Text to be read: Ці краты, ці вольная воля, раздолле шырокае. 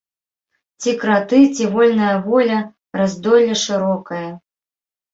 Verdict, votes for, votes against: rejected, 0, 2